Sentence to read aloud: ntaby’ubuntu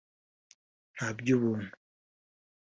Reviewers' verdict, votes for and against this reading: accepted, 2, 0